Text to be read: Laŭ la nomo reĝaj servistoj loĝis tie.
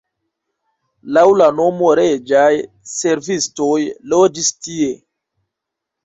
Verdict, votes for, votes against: accepted, 2, 1